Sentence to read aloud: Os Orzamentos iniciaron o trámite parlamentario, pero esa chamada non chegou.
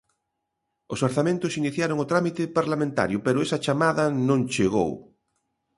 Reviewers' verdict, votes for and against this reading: accepted, 2, 0